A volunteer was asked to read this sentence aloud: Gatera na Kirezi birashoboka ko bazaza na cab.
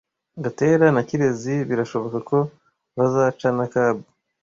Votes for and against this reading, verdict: 0, 2, rejected